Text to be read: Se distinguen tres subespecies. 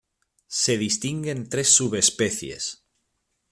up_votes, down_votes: 2, 1